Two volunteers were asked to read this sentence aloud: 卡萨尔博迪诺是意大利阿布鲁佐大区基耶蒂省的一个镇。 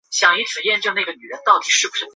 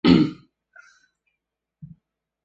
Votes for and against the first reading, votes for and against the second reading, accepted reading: 0, 5, 2, 1, second